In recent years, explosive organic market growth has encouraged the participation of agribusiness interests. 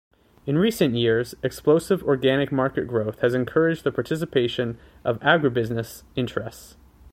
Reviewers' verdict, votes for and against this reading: accepted, 2, 0